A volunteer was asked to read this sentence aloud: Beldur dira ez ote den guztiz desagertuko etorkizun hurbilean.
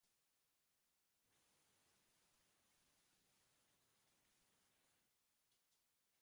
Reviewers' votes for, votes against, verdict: 0, 5, rejected